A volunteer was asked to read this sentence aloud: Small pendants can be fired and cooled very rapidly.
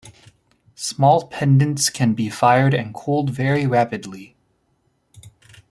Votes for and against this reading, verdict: 2, 1, accepted